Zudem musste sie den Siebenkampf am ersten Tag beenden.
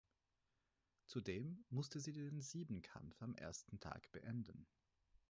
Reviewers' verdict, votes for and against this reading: rejected, 2, 4